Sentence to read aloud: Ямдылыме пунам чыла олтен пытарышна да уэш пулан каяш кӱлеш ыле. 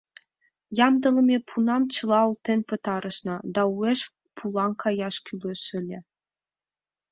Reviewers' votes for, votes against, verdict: 2, 0, accepted